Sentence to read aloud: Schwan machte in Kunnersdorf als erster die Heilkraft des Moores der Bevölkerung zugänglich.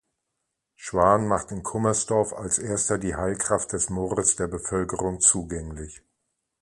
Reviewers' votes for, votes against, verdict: 2, 0, accepted